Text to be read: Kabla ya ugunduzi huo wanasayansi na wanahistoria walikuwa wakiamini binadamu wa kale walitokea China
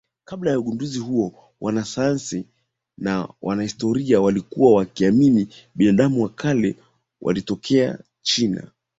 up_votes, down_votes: 2, 0